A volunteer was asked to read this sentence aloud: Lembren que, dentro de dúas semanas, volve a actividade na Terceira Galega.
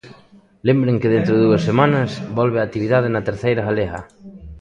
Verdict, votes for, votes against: rejected, 0, 2